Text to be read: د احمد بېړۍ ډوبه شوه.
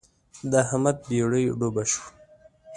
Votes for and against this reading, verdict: 2, 0, accepted